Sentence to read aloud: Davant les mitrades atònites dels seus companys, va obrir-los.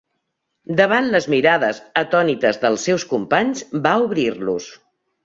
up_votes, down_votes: 1, 2